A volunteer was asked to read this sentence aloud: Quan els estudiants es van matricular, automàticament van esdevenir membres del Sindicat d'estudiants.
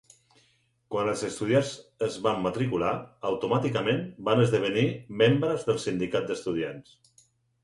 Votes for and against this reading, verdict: 4, 0, accepted